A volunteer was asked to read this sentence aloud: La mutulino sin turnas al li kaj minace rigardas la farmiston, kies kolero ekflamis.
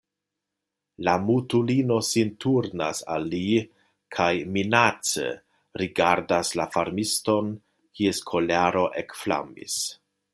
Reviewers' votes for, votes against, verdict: 3, 0, accepted